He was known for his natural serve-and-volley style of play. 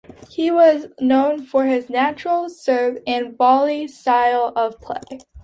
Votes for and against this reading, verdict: 2, 0, accepted